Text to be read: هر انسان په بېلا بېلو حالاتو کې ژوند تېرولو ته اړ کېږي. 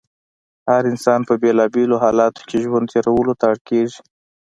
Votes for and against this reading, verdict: 2, 0, accepted